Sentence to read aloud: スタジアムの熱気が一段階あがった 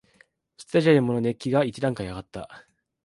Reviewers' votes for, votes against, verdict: 0, 2, rejected